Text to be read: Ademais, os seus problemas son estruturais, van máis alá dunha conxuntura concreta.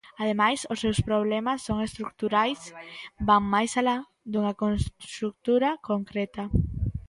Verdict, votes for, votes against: rejected, 0, 2